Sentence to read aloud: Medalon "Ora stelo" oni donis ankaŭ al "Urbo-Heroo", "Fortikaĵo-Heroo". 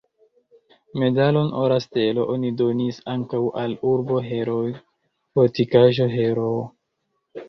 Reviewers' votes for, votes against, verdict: 2, 1, accepted